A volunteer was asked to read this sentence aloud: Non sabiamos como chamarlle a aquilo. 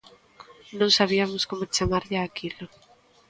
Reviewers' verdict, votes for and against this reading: accepted, 2, 0